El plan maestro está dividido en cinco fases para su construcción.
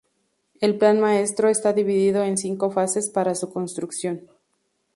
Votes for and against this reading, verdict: 2, 2, rejected